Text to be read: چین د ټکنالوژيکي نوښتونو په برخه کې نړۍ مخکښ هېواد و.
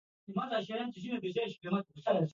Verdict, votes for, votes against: rejected, 0, 2